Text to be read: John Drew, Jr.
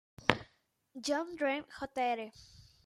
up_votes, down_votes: 1, 2